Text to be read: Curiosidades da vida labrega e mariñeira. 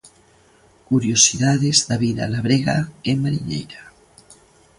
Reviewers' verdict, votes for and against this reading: accepted, 2, 0